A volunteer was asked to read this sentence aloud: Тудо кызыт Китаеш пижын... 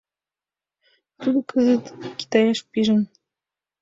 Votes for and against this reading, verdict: 2, 0, accepted